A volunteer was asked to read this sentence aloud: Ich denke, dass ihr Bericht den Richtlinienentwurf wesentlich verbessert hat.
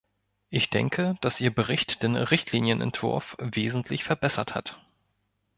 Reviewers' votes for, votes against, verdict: 2, 0, accepted